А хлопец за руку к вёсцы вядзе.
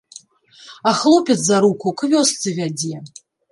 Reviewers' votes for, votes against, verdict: 1, 2, rejected